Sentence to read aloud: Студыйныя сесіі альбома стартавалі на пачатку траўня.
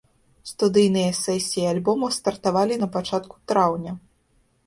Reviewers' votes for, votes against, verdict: 2, 0, accepted